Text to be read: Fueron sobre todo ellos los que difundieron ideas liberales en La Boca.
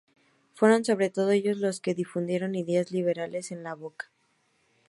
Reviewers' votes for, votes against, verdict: 4, 0, accepted